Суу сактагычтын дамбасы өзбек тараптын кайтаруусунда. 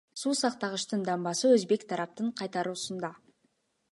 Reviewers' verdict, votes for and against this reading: accepted, 2, 1